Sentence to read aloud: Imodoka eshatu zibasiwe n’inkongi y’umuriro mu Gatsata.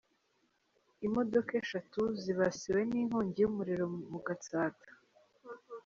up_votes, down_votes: 2, 0